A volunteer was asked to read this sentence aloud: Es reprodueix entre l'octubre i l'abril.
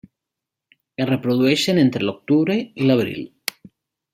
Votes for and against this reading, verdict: 1, 2, rejected